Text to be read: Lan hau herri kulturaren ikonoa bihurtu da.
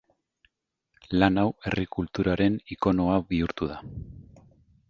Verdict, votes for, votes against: accepted, 2, 0